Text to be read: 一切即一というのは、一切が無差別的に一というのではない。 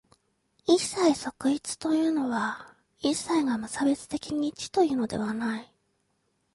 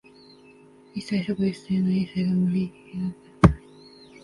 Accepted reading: first